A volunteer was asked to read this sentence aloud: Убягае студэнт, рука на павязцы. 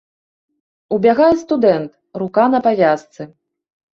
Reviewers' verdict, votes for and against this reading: accepted, 2, 0